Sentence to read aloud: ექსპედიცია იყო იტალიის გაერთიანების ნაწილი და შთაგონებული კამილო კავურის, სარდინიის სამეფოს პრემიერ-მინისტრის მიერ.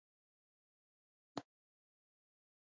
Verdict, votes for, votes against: rejected, 0, 2